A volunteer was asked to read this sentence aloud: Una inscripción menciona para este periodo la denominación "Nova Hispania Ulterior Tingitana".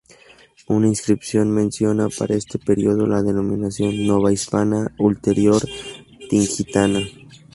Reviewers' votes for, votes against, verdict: 0, 2, rejected